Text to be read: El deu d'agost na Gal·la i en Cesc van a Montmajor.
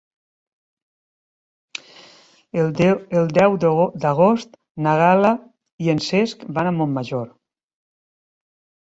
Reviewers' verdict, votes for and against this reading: rejected, 0, 3